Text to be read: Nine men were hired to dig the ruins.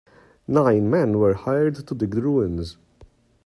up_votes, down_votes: 2, 3